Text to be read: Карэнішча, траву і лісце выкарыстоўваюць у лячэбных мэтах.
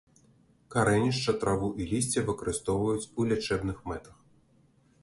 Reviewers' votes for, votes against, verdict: 2, 0, accepted